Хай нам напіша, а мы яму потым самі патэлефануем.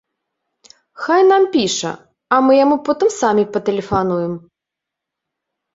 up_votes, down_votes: 0, 2